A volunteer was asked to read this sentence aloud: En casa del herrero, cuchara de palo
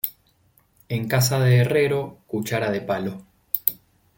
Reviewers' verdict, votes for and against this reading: rejected, 0, 2